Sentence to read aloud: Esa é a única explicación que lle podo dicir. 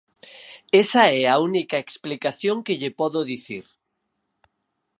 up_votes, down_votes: 4, 0